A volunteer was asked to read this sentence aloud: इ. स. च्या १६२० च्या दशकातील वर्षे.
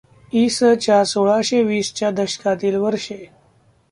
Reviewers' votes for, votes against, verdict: 0, 2, rejected